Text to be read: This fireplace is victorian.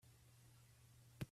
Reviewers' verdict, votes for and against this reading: rejected, 0, 2